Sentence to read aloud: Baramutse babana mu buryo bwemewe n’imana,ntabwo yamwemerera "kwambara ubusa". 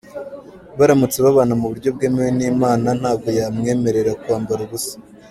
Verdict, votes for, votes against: accepted, 2, 1